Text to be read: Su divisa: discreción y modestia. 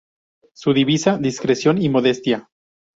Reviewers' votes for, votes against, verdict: 2, 0, accepted